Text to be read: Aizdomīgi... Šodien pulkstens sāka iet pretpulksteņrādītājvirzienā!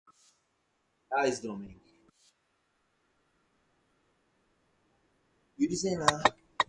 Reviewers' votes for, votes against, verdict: 0, 4, rejected